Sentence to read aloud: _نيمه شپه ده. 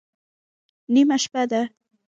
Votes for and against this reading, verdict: 1, 2, rejected